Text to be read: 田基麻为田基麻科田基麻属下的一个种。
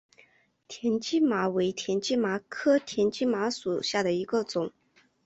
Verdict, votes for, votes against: accepted, 2, 0